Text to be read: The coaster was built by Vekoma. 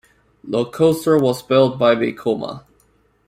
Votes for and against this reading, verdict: 2, 0, accepted